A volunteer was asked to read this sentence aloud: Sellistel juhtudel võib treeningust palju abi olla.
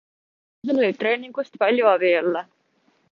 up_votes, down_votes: 0, 2